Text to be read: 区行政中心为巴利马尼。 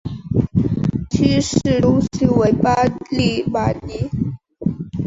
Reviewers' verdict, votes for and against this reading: rejected, 0, 2